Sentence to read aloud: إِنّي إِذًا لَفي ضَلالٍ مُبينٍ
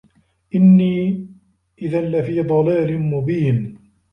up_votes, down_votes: 0, 2